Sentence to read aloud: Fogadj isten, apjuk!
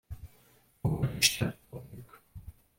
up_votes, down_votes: 0, 2